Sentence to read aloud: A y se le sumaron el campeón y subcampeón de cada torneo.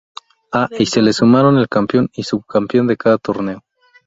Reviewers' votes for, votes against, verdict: 0, 2, rejected